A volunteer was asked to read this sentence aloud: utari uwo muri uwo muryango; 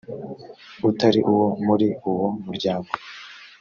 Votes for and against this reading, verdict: 2, 0, accepted